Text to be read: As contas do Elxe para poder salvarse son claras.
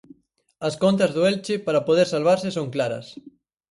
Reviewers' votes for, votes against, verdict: 0, 4, rejected